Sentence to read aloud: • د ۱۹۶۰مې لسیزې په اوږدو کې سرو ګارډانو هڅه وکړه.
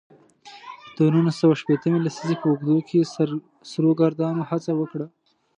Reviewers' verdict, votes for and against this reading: rejected, 0, 2